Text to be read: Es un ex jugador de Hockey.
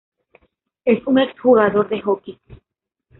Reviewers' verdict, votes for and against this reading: accepted, 2, 0